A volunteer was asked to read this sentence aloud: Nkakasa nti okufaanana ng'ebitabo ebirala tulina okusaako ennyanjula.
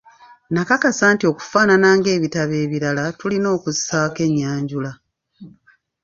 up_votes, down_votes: 1, 2